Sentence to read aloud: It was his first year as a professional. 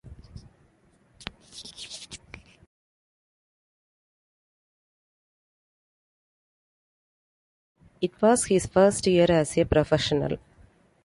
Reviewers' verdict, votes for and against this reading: accepted, 2, 1